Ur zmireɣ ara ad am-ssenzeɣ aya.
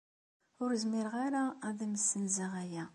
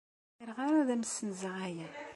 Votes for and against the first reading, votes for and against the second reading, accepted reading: 2, 0, 0, 2, first